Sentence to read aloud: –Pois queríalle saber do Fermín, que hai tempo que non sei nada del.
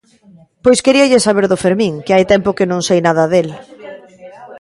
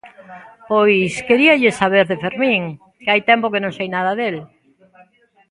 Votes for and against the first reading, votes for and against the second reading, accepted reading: 2, 0, 0, 2, first